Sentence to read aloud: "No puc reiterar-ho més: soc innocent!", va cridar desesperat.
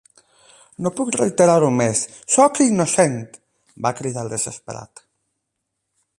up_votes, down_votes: 8, 0